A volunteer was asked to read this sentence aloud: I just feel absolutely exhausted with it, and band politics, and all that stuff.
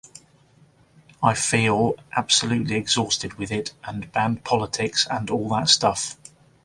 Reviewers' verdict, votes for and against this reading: rejected, 0, 2